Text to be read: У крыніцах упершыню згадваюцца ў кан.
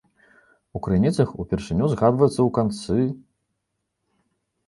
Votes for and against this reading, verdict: 1, 2, rejected